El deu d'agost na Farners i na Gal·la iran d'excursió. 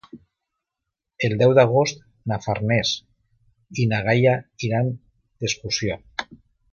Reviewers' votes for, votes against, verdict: 0, 2, rejected